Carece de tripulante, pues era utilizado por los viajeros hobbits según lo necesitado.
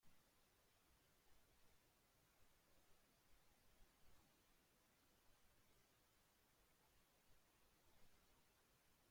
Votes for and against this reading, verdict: 0, 2, rejected